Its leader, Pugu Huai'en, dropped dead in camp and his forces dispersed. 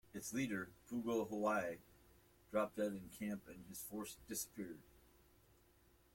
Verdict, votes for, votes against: rejected, 0, 2